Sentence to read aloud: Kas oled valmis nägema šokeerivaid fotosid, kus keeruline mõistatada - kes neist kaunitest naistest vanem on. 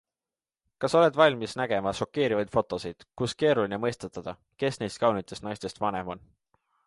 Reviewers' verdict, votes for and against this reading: accepted, 2, 0